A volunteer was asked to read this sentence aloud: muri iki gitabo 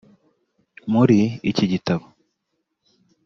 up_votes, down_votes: 2, 0